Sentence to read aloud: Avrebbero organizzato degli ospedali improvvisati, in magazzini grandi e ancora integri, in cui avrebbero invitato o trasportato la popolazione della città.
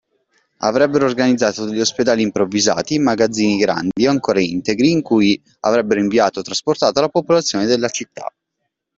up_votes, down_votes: 0, 2